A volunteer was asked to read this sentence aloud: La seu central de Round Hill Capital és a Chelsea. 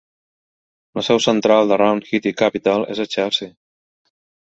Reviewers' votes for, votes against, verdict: 0, 2, rejected